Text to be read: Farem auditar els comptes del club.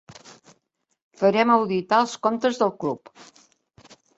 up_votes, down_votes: 3, 0